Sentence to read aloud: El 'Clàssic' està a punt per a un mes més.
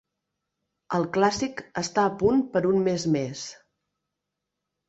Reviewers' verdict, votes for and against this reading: rejected, 1, 2